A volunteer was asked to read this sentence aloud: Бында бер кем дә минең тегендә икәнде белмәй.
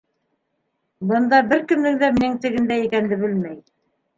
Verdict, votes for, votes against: rejected, 1, 2